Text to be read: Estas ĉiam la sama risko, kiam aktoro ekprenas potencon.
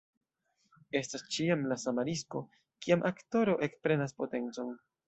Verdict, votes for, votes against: accepted, 2, 0